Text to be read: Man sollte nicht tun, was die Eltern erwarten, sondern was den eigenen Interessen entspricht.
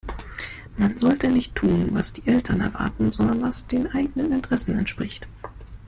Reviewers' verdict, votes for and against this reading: accepted, 2, 0